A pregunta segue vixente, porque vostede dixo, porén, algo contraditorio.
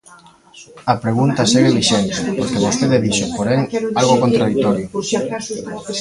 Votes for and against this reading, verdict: 0, 2, rejected